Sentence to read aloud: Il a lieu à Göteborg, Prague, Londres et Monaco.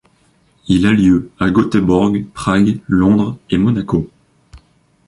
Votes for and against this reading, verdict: 2, 1, accepted